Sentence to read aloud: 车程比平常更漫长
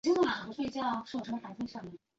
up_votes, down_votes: 0, 3